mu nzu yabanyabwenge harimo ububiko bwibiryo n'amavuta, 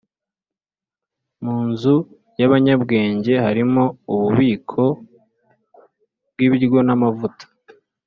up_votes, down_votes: 2, 0